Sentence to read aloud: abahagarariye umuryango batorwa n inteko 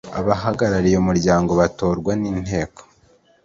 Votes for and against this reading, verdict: 2, 0, accepted